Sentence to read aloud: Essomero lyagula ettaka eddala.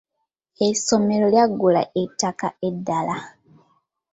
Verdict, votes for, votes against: accepted, 2, 0